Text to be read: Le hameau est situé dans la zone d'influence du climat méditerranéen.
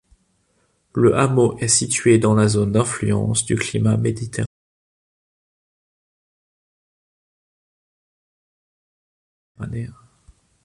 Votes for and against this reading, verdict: 0, 2, rejected